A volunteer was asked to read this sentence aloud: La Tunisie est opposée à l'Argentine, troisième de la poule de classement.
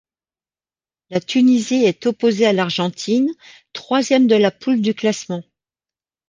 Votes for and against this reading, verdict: 1, 2, rejected